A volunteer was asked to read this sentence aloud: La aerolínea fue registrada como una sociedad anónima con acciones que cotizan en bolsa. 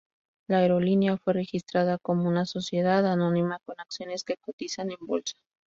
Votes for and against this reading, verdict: 2, 0, accepted